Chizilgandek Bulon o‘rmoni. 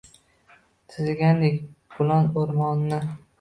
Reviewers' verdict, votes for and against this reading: accepted, 2, 0